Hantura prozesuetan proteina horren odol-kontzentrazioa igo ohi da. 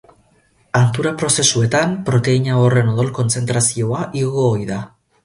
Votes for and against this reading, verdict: 4, 2, accepted